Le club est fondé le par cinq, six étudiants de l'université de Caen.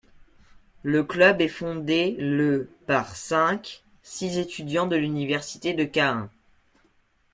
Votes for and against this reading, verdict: 1, 2, rejected